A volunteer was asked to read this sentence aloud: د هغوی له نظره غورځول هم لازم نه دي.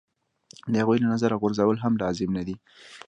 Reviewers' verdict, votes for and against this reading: accepted, 3, 0